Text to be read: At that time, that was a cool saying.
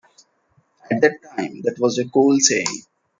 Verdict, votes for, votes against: accepted, 2, 1